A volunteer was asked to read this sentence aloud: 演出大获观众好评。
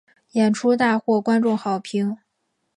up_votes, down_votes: 2, 0